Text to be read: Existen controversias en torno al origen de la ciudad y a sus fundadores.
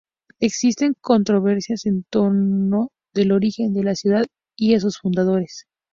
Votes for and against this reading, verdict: 2, 0, accepted